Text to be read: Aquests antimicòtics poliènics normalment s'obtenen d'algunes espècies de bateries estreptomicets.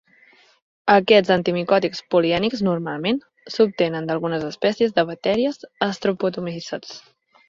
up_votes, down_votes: 1, 2